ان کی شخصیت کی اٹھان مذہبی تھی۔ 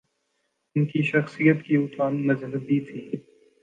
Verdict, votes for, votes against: accepted, 3, 0